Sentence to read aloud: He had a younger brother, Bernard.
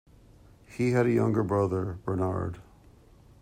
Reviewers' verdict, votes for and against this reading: accepted, 2, 0